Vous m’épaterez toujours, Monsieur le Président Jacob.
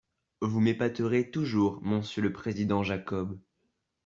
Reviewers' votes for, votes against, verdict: 0, 2, rejected